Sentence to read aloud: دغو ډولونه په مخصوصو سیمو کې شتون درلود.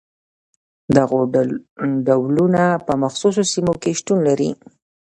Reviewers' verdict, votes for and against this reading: rejected, 1, 2